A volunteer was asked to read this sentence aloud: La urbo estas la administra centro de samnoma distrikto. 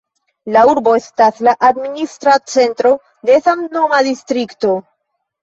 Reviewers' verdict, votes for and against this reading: rejected, 1, 2